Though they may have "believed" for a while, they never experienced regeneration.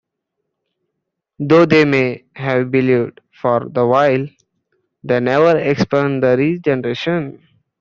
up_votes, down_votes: 0, 2